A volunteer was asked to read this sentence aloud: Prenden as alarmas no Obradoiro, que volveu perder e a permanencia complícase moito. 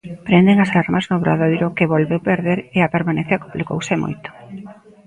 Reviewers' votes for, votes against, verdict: 0, 2, rejected